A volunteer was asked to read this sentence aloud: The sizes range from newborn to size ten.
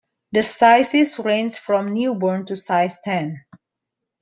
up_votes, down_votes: 2, 0